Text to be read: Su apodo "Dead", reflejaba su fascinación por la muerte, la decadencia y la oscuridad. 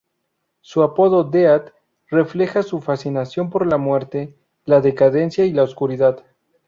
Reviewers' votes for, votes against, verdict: 0, 2, rejected